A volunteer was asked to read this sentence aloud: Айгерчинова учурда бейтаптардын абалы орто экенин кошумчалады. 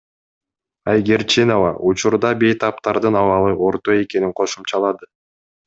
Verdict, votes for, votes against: accepted, 2, 0